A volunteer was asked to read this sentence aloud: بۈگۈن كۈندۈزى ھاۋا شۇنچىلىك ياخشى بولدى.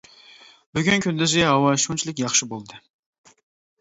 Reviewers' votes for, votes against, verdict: 2, 0, accepted